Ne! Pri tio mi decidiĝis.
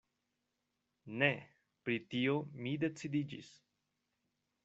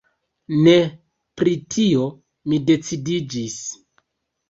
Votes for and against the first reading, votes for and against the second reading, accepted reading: 2, 0, 0, 2, first